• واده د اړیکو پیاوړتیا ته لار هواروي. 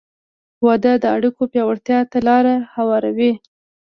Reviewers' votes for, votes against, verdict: 2, 0, accepted